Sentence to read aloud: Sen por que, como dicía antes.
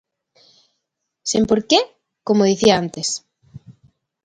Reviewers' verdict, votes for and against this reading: accepted, 2, 0